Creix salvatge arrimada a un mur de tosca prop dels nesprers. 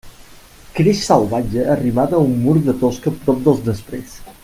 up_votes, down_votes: 0, 2